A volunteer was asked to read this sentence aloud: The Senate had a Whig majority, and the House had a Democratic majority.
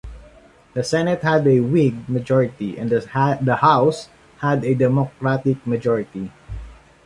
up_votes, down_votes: 0, 2